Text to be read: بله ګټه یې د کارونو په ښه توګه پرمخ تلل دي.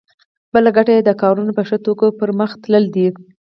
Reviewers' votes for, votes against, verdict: 4, 0, accepted